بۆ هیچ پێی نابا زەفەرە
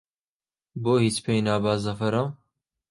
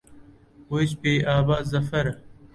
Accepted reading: first